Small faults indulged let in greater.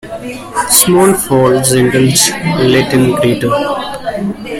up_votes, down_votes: 1, 2